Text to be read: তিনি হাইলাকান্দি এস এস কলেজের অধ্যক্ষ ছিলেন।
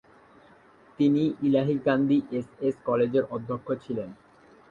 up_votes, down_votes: 1, 2